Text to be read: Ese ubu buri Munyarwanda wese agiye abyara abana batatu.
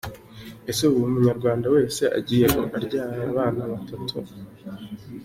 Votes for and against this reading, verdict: 2, 0, accepted